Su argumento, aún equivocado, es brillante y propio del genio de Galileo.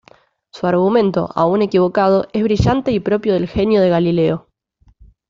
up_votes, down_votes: 2, 0